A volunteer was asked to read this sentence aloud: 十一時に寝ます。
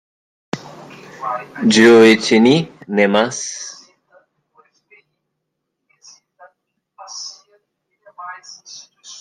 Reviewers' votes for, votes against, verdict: 1, 3, rejected